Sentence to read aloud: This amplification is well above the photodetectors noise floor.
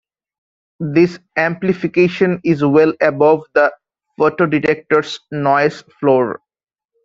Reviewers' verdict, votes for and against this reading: rejected, 1, 2